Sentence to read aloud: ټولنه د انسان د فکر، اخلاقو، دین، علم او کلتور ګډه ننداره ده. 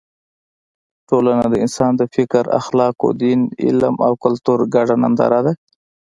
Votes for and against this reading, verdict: 2, 1, accepted